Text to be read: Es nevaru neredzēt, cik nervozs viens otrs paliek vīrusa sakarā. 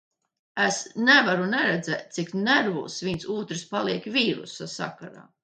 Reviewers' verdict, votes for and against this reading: rejected, 0, 2